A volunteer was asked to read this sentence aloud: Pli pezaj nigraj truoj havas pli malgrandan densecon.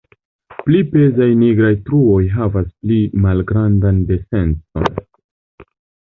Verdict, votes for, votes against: accepted, 2, 0